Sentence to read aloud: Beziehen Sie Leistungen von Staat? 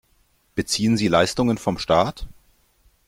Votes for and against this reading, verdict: 1, 2, rejected